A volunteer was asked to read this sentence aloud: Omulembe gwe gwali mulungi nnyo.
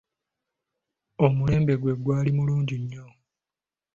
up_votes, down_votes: 2, 0